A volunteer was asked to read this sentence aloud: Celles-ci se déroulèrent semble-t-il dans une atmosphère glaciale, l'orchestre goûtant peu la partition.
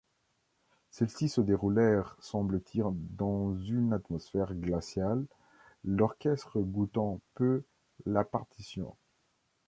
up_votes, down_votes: 1, 2